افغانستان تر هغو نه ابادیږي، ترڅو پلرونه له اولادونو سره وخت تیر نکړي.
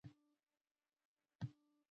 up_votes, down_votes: 1, 2